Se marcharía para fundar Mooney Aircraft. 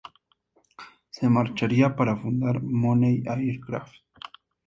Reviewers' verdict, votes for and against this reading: accepted, 4, 0